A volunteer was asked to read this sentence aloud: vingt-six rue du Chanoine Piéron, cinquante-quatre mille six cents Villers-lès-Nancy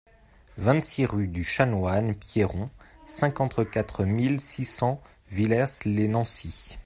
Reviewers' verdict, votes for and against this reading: accepted, 2, 0